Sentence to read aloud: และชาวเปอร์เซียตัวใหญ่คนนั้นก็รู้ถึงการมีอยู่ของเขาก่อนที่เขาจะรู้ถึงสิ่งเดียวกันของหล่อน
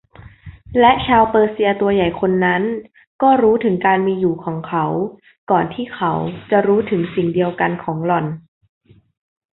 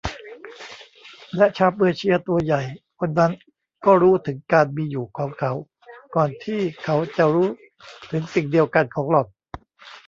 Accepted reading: first